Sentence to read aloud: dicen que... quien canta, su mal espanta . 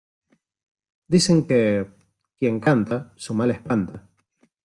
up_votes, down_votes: 2, 0